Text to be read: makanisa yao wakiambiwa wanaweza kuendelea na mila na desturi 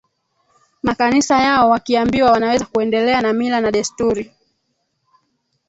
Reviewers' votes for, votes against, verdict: 1, 2, rejected